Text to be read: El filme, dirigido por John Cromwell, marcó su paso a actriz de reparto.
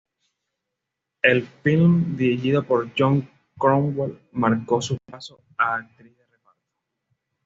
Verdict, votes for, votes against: accepted, 2, 0